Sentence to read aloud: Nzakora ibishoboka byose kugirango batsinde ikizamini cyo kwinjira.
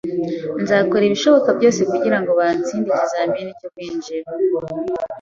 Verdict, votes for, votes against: accepted, 2, 0